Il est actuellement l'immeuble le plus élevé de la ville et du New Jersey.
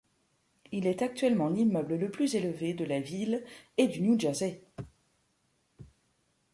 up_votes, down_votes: 2, 0